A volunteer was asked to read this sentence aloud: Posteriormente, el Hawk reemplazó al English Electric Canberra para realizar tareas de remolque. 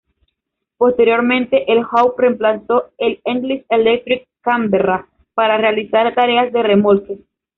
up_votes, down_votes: 1, 2